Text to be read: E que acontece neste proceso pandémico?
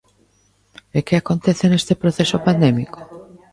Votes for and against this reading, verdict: 1, 2, rejected